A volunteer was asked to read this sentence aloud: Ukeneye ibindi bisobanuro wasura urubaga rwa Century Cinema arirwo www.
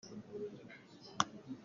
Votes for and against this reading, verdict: 0, 2, rejected